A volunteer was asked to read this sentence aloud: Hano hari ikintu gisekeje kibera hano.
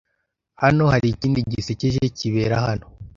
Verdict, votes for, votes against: rejected, 0, 2